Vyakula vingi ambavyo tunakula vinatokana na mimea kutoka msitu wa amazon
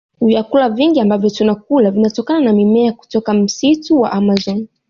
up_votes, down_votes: 2, 0